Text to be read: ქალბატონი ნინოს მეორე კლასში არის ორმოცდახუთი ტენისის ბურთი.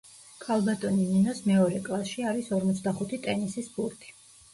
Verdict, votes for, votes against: rejected, 1, 2